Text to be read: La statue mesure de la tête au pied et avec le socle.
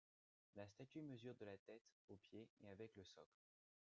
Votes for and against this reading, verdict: 2, 0, accepted